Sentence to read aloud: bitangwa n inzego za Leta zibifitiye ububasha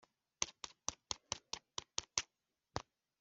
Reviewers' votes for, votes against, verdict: 0, 2, rejected